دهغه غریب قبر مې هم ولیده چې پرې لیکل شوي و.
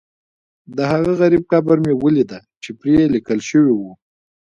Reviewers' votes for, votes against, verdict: 2, 0, accepted